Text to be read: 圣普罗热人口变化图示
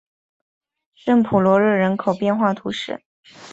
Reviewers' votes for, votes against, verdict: 2, 0, accepted